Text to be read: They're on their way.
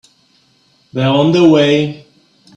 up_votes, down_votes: 0, 2